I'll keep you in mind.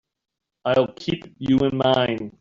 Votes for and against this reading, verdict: 2, 0, accepted